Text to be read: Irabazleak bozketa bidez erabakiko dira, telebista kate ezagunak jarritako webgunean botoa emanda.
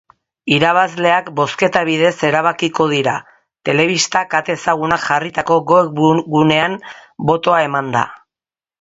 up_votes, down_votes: 0, 2